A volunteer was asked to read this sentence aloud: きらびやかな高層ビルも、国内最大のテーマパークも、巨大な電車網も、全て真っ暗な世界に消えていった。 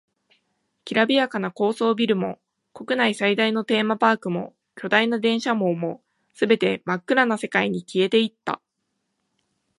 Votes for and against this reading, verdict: 12, 1, accepted